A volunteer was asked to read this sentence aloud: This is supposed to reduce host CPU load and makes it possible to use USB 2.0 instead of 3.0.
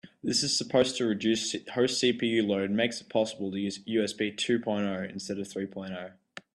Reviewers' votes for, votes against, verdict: 0, 2, rejected